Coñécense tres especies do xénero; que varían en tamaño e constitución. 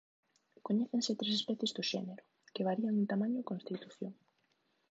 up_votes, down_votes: 0, 2